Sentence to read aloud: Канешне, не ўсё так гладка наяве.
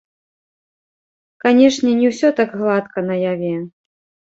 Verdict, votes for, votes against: rejected, 1, 2